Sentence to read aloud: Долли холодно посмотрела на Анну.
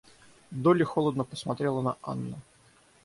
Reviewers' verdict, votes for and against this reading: accepted, 6, 0